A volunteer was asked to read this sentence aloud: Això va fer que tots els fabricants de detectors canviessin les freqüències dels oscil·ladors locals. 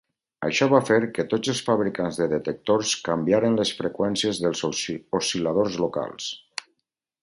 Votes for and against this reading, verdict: 0, 4, rejected